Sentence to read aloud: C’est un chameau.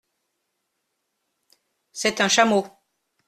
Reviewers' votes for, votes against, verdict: 2, 0, accepted